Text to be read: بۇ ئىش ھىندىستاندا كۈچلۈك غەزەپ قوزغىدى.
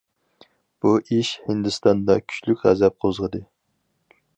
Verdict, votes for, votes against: accepted, 4, 0